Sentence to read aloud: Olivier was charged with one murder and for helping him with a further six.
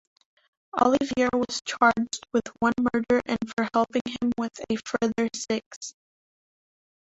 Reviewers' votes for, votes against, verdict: 2, 1, accepted